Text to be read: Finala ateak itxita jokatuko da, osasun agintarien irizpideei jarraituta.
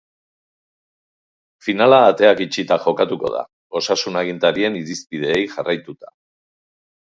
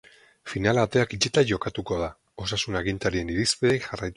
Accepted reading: first